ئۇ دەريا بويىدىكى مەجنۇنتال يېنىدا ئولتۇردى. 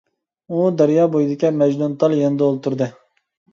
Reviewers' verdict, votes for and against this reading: accepted, 2, 0